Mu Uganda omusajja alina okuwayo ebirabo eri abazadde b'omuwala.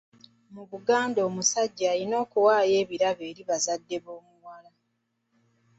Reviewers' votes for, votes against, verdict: 2, 1, accepted